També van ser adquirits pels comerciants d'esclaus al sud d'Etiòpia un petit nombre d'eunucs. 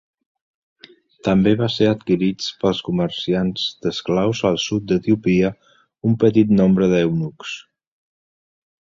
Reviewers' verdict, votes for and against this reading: rejected, 1, 2